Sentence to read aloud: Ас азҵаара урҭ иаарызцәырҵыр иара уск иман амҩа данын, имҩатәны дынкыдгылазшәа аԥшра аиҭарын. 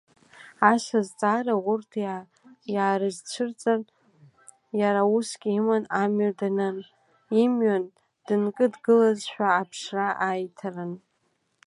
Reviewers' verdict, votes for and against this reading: rejected, 1, 2